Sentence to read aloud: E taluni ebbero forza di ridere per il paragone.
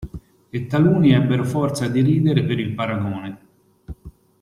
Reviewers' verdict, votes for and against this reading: accepted, 2, 0